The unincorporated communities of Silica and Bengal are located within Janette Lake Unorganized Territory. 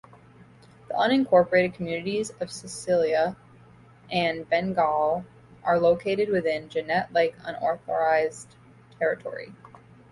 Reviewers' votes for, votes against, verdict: 2, 1, accepted